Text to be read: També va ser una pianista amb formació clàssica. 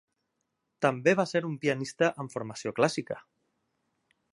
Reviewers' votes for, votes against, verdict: 0, 2, rejected